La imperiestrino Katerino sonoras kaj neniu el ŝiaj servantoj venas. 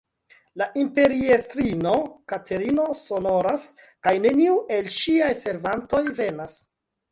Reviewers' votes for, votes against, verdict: 1, 2, rejected